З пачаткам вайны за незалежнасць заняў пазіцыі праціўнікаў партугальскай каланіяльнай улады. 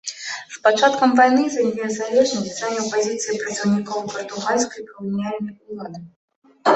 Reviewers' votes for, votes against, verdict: 0, 2, rejected